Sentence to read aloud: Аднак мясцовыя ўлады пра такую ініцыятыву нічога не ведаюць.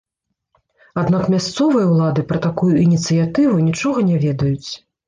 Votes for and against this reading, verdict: 0, 2, rejected